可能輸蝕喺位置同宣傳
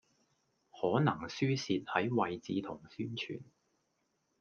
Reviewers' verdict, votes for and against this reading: accepted, 2, 0